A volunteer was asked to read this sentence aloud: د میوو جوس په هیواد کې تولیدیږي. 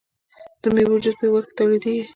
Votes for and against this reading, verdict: 2, 0, accepted